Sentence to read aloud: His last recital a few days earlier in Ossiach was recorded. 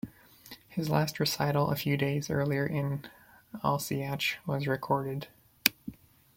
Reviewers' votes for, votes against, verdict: 1, 2, rejected